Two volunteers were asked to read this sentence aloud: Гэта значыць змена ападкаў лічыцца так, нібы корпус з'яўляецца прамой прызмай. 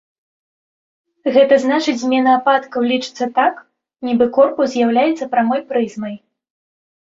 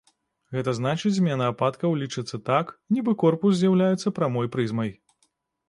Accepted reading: first